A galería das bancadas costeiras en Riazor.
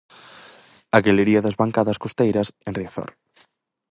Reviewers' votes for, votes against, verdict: 4, 0, accepted